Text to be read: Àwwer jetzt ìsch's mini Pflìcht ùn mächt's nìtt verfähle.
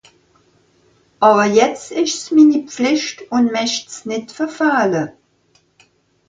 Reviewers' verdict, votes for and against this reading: accepted, 2, 0